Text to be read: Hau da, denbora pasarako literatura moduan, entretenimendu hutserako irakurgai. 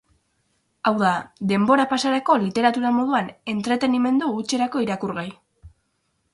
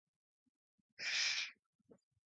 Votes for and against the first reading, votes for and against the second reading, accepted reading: 6, 0, 0, 4, first